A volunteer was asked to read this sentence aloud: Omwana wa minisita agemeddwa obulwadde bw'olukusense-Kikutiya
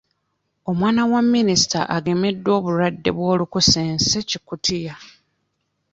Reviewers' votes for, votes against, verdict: 2, 1, accepted